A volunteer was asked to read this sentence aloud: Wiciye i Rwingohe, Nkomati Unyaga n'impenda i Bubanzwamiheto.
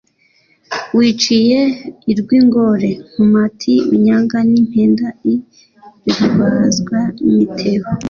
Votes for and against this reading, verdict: 1, 3, rejected